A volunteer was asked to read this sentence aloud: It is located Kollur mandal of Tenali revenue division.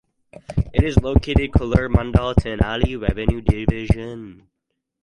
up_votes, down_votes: 2, 2